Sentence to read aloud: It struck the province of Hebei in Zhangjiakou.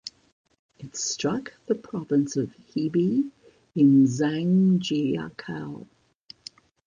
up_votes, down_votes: 1, 2